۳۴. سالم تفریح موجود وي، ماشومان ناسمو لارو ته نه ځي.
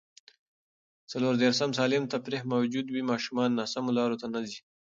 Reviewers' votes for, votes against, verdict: 0, 2, rejected